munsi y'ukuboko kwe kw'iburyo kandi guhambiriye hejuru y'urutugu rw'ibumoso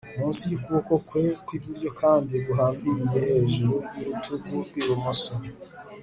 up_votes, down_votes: 3, 0